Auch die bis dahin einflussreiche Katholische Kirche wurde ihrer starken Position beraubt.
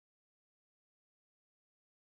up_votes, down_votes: 0, 2